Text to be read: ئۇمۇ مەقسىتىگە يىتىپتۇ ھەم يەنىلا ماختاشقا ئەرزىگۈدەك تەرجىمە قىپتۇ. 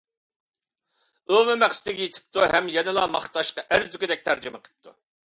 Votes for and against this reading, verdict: 2, 0, accepted